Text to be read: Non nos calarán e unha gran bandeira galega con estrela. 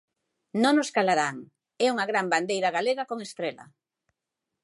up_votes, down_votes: 2, 0